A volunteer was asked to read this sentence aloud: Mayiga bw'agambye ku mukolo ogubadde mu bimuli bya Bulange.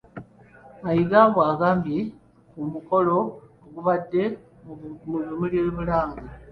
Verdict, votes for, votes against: rejected, 0, 2